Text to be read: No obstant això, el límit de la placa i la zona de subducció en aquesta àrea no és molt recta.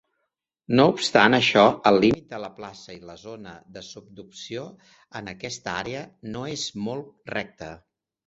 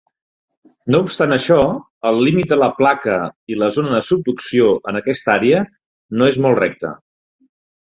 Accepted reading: second